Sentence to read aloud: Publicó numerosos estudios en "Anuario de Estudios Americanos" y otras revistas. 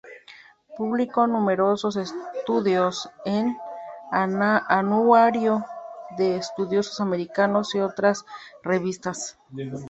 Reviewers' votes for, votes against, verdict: 0, 2, rejected